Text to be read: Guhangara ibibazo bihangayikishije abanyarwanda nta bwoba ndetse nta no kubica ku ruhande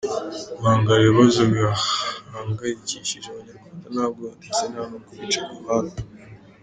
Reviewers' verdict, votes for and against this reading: rejected, 0, 2